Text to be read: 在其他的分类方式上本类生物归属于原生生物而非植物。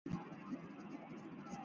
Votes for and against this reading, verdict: 1, 3, rejected